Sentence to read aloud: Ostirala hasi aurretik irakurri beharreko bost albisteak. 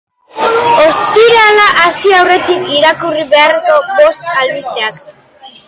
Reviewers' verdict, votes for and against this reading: rejected, 0, 2